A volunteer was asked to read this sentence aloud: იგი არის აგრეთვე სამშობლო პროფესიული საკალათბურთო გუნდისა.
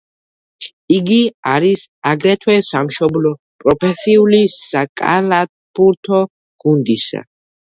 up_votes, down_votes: 2, 0